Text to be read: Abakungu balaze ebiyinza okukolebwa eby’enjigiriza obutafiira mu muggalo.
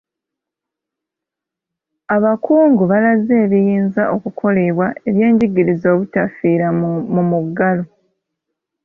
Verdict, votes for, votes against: rejected, 1, 2